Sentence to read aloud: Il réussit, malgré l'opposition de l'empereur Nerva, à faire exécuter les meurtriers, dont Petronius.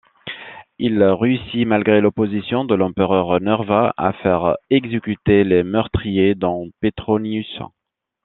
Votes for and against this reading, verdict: 2, 1, accepted